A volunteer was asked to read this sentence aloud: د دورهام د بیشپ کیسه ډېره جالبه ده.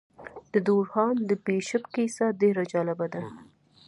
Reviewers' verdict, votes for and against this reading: accepted, 2, 0